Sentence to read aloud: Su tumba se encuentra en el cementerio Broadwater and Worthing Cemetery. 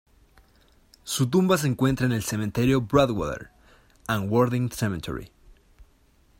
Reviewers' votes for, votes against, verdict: 0, 2, rejected